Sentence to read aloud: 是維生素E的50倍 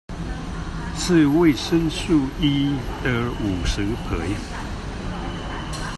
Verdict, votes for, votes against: rejected, 0, 2